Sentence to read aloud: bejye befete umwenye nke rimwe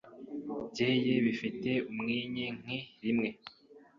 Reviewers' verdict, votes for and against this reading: rejected, 0, 2